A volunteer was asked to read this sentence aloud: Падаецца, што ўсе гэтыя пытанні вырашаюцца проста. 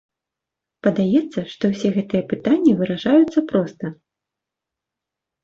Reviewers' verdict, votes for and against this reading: accepted, 2, 0